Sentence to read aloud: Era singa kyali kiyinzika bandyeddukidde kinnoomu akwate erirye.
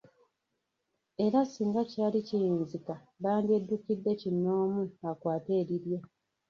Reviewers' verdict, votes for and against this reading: rejected, 1, 2